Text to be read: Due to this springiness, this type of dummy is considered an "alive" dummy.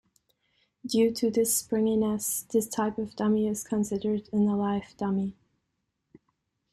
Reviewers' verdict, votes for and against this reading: accepted, 2, 0